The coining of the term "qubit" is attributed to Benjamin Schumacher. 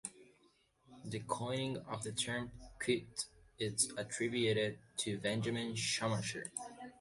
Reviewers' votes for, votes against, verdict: 0, 2, rejected